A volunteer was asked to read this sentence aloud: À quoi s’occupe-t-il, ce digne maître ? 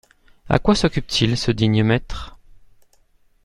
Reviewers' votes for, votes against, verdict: 2, 0, accepted